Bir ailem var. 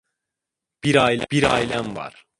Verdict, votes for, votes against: rejected, 0, 2